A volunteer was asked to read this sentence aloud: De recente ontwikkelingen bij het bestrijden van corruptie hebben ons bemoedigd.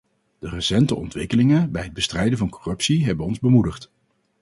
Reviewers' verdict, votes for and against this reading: accepted, 2, 0